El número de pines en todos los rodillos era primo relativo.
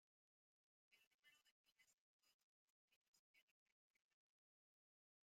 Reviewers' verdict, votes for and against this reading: rejected, 0, 2